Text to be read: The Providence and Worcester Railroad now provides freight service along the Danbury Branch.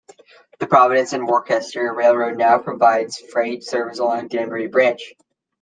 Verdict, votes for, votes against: rejected, 1, 2